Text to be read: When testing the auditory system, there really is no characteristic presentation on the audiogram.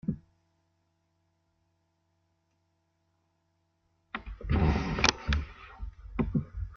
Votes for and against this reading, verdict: 0, 2, rejected